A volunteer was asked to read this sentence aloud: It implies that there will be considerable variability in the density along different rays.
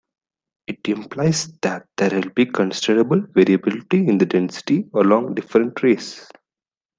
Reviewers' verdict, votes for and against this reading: accepted, 2, 0